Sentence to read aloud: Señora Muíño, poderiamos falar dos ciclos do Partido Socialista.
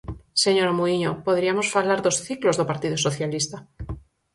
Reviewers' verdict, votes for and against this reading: accepted, 4, 0